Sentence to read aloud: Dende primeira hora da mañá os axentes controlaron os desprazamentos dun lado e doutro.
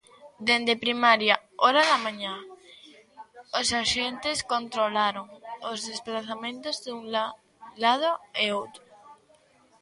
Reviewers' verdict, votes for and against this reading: rejected, 0, 2